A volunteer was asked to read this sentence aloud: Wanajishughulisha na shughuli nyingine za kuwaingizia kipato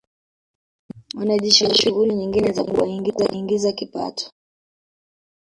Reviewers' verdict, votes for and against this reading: rejected, 0, 2